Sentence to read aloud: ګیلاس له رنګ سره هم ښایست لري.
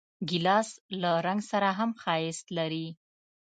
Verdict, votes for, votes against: accepted, 2, 0